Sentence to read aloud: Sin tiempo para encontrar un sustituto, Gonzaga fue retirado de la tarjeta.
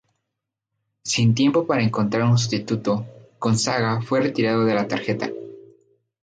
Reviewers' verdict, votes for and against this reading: accepted, 4, 0